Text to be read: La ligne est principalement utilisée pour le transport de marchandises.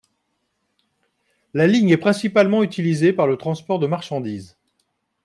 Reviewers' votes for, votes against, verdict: 1, 2, rejected